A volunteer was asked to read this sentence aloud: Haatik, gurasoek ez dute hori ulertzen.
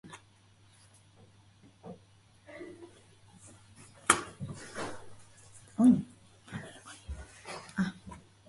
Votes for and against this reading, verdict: 0, 4, rejected